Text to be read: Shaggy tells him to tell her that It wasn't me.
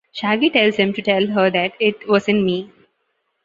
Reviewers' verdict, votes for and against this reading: accepted, 2, 0